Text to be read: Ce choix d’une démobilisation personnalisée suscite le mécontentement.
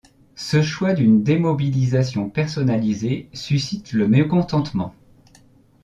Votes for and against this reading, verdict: 2, 0, accepted